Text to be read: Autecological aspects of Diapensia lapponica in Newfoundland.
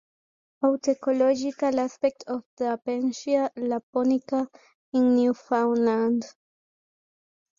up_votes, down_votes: 2, 1